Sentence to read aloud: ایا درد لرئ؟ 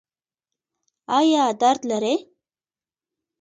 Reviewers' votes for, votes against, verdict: 1, 2, rejected